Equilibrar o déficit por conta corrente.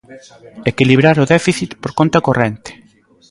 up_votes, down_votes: 2, 0